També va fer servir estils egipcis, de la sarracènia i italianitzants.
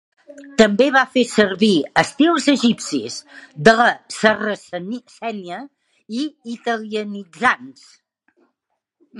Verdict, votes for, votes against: rejected, 0, 2